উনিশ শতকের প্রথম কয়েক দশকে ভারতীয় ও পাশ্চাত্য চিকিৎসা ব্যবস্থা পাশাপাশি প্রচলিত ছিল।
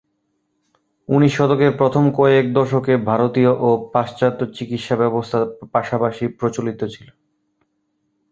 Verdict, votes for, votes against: accepted, 2, 0